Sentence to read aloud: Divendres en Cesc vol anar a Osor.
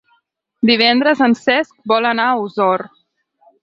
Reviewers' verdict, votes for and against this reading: accepted, 8, 0